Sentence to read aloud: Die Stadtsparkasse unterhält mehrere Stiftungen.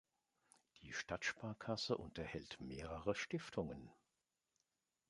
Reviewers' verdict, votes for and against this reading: accepted, 2, 0